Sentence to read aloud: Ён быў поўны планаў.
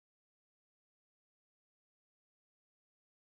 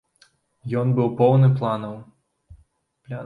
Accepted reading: second